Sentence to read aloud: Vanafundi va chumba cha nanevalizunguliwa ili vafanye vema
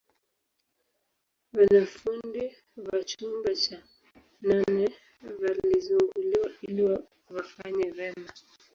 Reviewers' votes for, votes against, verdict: 0, 2, rejected